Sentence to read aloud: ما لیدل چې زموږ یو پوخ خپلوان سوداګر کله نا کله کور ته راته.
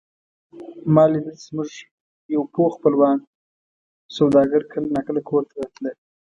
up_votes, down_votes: 1, 2